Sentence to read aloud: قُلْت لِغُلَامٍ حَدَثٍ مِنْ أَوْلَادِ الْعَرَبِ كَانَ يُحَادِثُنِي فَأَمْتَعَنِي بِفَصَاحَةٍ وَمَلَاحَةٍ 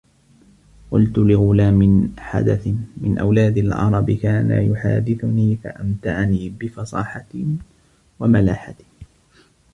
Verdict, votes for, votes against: rejected, 0, 2